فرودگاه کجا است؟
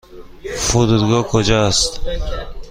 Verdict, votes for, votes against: accepted, 2, 0